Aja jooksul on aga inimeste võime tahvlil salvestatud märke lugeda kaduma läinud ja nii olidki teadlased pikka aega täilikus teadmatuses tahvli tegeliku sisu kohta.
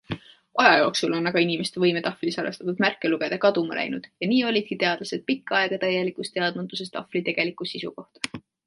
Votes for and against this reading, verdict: 2, 0, accepted